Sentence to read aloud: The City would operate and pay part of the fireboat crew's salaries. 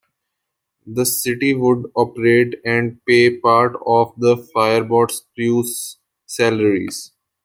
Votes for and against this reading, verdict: 1, 2, rejected